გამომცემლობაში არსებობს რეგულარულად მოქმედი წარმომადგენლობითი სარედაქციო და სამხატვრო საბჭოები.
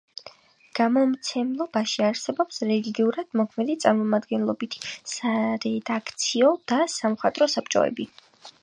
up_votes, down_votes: 2, 0